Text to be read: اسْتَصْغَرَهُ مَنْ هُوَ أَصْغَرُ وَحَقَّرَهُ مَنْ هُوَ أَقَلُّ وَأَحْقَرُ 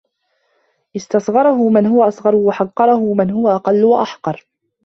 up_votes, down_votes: 2, 0